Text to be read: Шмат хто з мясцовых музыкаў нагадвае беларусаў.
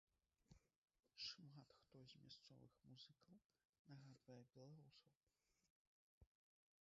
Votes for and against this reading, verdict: 1, 2, rejected